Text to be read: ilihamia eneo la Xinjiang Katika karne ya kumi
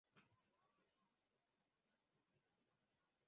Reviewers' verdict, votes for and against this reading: rejected, 0, 2